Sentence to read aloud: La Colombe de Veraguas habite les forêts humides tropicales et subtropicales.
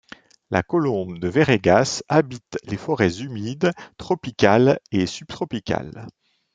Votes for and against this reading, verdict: 1, 2, rejected